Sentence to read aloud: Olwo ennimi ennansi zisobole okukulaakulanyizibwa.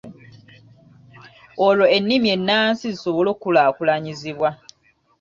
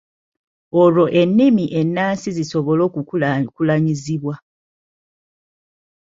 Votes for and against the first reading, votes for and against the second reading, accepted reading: 1, 2, 2, 1, second